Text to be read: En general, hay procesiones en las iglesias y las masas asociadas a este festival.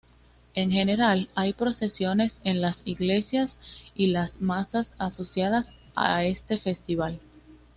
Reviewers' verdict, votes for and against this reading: accepted, 2, 0